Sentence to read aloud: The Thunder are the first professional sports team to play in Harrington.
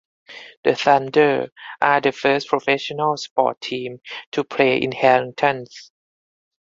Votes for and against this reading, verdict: 0, 4, rejected